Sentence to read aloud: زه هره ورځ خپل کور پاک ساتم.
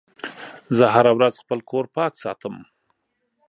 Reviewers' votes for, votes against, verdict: 3, 0, accepted